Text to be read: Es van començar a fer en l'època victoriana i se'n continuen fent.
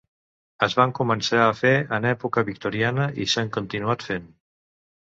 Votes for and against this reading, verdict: 2, 3, rejected